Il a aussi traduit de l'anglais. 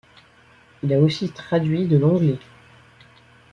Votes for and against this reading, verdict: 2, 0, accepted